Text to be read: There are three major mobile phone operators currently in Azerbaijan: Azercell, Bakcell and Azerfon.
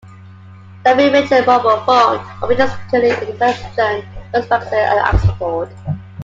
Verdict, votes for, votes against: rejected, 0, 2